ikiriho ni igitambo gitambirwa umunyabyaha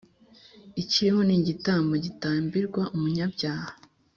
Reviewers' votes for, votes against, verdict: 2, 0, accepted